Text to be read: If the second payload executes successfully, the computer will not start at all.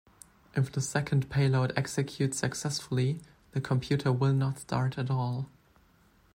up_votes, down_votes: 2, 0